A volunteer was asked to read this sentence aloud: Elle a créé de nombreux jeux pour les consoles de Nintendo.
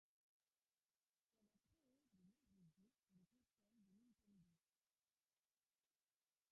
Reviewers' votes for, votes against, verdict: 0, 2, rejected